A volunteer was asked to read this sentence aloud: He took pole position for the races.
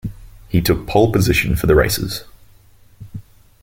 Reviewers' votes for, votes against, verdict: 2, 0, accepted